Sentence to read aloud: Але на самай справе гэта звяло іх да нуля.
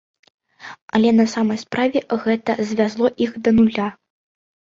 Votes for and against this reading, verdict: 0, 2, rejected